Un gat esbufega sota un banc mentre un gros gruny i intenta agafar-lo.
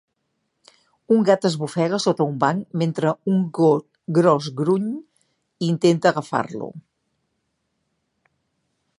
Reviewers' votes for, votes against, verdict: 0, 2, rejected